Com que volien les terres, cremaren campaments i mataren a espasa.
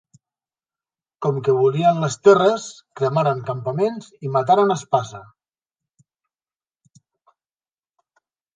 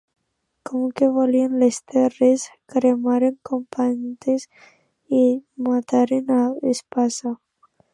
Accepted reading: first